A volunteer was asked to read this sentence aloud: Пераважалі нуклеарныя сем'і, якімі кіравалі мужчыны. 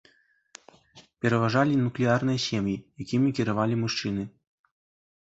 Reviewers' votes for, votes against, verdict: 2, 0, accepted